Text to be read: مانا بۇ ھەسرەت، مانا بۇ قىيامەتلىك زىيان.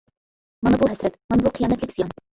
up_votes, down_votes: 0, 2